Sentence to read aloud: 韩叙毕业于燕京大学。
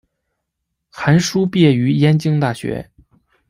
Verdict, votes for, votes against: rejected, 1, 2